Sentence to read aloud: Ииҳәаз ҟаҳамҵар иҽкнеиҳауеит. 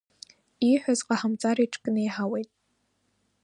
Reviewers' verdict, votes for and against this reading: accepted, 2, 0